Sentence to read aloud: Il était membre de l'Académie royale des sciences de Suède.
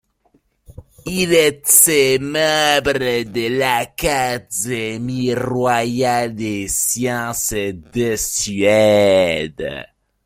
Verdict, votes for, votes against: accepted, 2, 0